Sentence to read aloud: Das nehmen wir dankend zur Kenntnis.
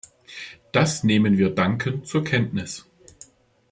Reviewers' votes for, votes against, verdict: 2, 0, accepted